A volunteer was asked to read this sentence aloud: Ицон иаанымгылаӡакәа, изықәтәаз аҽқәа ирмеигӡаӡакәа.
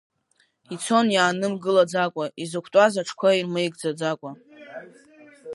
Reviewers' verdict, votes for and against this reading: accepted, 3, 0